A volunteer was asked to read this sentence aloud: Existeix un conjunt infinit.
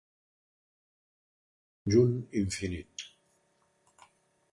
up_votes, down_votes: 0, 2